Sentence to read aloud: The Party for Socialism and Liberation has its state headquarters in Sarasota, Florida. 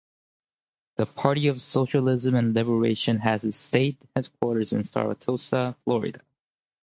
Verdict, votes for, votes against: rejected, 0, 4